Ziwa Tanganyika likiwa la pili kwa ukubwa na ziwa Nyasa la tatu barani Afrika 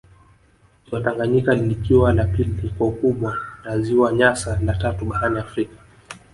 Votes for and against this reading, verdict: 1, 2, rejected